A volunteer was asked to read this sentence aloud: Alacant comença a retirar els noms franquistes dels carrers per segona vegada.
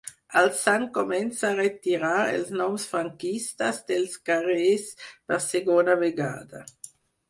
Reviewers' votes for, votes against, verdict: 0, 4, rejected